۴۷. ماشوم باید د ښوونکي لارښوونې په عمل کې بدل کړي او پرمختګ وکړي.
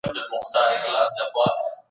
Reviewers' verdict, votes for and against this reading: rejected, 0, 2